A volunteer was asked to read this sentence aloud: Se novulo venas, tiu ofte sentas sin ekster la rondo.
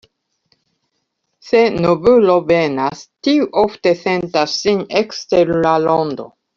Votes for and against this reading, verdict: 1, 2, rejected